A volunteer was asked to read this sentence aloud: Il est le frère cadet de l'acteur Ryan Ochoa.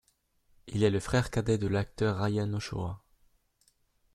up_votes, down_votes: 2, 0